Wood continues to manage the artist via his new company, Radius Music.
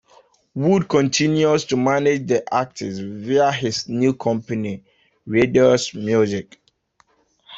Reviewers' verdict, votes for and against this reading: rejected, 0, 2